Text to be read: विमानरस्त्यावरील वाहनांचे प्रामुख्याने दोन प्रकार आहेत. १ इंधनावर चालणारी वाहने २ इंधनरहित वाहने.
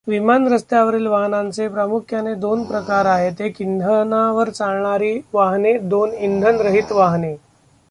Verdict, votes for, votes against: rejected, 0, 2